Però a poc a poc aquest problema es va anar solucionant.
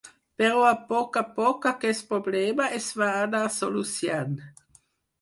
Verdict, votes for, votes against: rejected, 2, 4